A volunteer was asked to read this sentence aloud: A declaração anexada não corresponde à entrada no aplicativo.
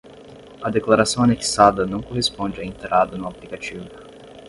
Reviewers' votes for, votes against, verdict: 5, 5, rejected